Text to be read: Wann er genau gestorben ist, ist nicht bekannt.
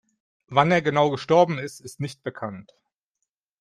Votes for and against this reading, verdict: 2, 0, accepted